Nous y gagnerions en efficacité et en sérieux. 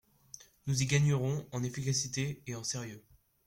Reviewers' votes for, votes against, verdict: 1, 2, rejected